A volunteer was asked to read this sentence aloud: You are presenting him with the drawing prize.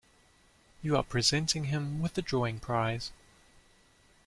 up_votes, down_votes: 2, 0